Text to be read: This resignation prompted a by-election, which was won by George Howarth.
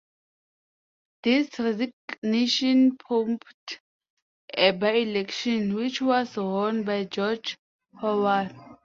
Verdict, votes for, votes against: rejected, 0, 2